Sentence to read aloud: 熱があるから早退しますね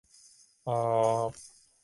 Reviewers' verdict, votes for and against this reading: rejected, 0, 2